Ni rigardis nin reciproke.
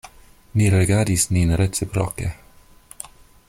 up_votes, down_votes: 2, 0